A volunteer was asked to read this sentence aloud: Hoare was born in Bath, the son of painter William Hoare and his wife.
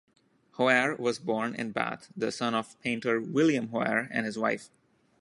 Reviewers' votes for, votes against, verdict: 2, 0, accepted